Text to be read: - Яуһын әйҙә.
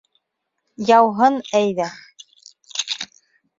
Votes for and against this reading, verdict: 2, 0, accepted